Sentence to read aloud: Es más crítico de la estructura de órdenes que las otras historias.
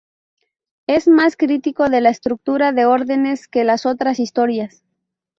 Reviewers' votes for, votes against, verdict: 2, 0, accepted